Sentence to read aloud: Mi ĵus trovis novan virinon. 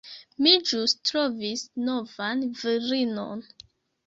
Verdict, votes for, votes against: rejected, 0, 2